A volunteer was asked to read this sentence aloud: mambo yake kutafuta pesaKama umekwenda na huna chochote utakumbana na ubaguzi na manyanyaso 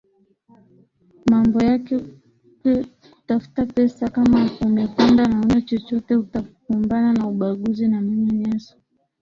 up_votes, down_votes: 1, 2